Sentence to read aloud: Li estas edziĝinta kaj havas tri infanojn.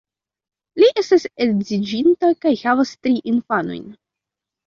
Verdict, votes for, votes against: accepted, 2, 0